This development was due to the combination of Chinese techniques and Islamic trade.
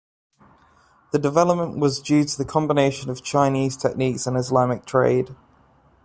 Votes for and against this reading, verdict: 0, 2, rejected